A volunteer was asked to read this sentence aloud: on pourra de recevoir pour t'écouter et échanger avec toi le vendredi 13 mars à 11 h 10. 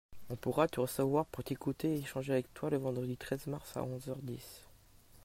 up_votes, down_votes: 0, 2